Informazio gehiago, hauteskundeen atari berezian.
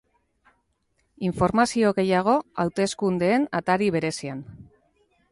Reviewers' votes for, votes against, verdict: 2, 0, accepted